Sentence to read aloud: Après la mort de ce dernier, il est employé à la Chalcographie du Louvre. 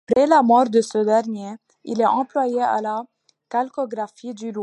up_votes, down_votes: 0, 2